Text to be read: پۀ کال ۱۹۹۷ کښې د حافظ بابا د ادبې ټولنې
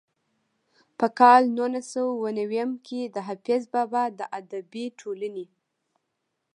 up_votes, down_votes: 0, 2